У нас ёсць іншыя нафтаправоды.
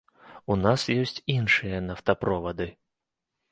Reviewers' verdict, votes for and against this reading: rejected, 1, 2